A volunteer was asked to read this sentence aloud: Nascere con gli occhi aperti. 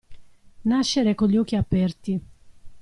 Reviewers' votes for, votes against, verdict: 2, 0, accepted